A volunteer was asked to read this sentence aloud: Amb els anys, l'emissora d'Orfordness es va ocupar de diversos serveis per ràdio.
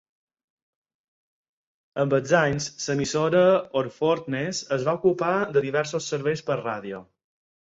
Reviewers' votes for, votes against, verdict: 2, 4, rejected